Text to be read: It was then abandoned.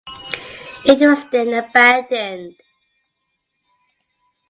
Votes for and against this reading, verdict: 2, 0, accepted